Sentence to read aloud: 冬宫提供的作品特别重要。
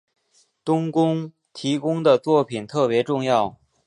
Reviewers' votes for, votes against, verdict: 5, 0, accepted